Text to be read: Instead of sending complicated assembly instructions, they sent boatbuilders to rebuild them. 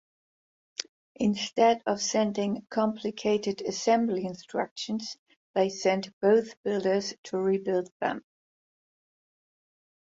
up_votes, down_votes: 2, 2